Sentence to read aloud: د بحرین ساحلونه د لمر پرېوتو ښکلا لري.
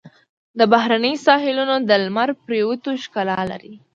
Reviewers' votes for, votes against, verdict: 2, 0, accepted